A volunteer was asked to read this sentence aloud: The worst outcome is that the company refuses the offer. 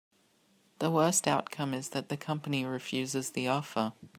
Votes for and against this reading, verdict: 3, 0, accepted